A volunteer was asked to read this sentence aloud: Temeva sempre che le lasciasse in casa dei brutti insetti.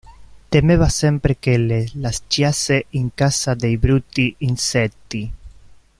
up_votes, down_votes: 1, 2